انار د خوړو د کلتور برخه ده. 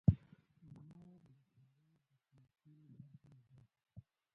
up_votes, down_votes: 0, 2